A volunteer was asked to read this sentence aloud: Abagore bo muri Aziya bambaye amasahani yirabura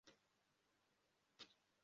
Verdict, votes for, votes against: rejected, 0, 2